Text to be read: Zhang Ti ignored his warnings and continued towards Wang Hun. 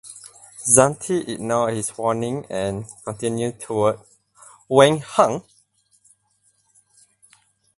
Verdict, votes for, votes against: rejected, 0, 4